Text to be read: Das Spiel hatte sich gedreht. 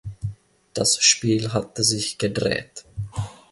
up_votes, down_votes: 2, 0